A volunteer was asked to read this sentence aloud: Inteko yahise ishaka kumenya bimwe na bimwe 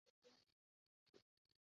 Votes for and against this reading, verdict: 0, 2, rejected